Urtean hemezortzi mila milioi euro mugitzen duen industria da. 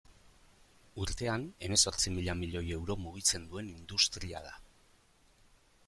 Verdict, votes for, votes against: accepted, 2, 0